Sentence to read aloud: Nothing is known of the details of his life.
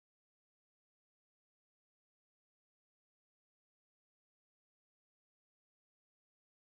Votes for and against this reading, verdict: 1, 2, rejected